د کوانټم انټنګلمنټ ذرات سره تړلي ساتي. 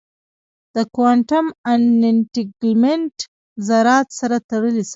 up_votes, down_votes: 2, 0